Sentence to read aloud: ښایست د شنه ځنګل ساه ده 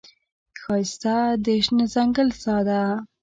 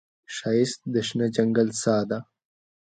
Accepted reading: second